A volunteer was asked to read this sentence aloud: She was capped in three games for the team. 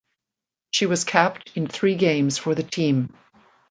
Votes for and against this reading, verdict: 2, 0, accepted